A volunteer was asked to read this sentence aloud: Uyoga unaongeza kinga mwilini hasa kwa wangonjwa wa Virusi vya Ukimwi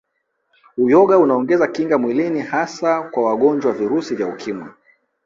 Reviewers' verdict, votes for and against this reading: accepted, 2, 0